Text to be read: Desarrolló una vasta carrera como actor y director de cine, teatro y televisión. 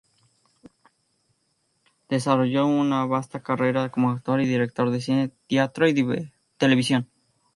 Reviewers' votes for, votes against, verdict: 0, 2, rejected